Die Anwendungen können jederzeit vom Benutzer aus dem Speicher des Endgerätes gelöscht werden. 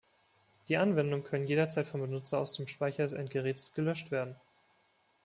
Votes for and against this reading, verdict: 2, 1, accepted